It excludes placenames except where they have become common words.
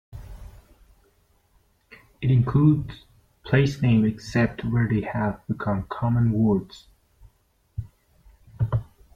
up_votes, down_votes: 0, 2